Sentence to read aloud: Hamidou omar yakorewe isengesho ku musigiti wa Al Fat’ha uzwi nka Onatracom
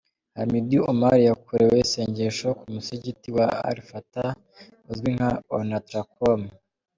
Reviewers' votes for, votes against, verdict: 3, 1, accepted